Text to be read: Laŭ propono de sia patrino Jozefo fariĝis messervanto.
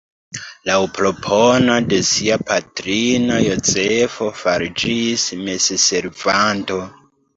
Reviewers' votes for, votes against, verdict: 0, 2, rejected